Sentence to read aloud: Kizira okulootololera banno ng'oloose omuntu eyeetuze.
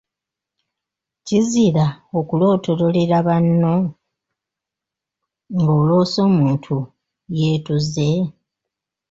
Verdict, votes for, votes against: rejected, 1, 2